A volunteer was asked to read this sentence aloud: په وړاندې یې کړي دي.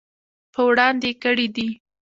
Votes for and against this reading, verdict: 2, 0, accepted